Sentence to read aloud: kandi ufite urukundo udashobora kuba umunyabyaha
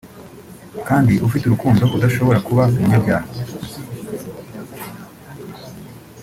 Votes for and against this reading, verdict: 2, 0, accepted